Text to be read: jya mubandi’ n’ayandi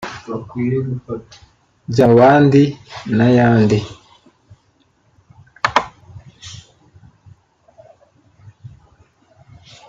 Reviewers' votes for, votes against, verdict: 1, 2, rejected